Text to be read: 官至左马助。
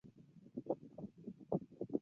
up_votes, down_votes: 0, 2